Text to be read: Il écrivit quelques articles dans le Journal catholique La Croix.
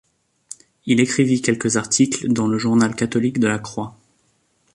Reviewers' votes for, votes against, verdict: 1, 2, rejected